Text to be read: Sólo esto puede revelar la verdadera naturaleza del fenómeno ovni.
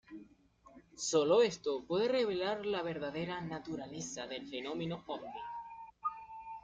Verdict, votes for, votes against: rejected, 0, 2